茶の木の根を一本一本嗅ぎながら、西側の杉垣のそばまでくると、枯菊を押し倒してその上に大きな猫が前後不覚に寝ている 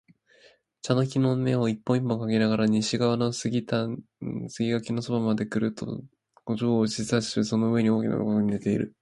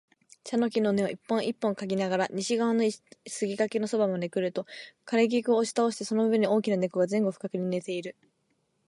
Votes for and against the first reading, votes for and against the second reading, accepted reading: 0, 2, 2, 1, second